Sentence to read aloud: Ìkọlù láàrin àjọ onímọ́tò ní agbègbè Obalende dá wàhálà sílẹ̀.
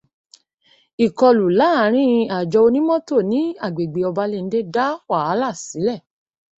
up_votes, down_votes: 2, 0